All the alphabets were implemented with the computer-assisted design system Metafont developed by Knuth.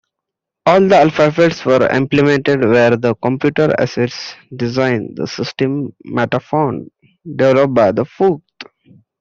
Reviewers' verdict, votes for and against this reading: rejected, 0, 2